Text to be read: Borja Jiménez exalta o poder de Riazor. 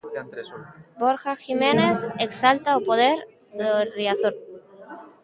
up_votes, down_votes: 0, 3